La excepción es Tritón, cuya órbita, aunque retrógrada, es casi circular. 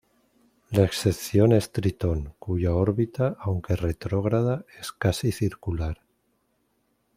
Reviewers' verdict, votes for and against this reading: accepted, 2, 0